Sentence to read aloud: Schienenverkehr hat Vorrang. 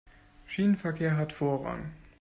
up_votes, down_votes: 2, 0